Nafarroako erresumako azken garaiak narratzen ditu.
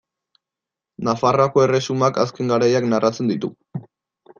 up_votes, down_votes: 0, 2